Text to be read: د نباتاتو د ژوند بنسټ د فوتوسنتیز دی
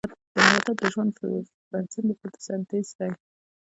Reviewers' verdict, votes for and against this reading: rejected, 1, 2